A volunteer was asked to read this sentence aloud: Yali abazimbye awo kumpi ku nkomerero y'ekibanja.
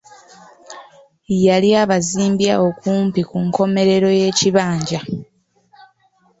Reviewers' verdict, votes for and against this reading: accepted, 2, 0